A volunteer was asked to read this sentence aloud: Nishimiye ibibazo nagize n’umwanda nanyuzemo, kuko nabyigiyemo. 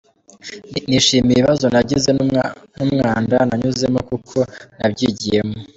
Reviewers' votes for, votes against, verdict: 0, 2, rejected